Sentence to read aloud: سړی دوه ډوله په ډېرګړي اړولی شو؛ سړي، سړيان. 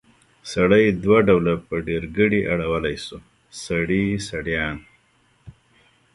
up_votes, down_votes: 1, 2